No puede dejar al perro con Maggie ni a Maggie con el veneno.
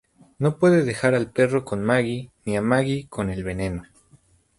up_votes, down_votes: 0, 4